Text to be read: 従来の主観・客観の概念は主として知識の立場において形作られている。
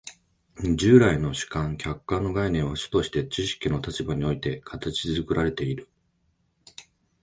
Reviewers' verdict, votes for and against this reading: accepted, 2, 0